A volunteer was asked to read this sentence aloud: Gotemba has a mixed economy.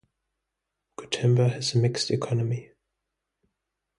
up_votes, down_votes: 2, 0